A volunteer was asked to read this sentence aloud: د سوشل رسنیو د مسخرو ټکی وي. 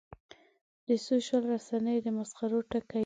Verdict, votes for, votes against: accepted, 2, 1